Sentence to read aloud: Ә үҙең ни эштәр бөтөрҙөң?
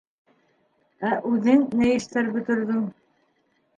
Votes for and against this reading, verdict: 0, 2, rejected